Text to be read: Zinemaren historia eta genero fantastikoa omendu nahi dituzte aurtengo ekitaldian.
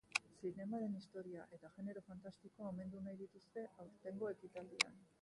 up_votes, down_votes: 0, 2